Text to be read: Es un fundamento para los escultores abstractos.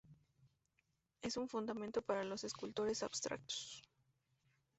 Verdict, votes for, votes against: rejected, 2, 2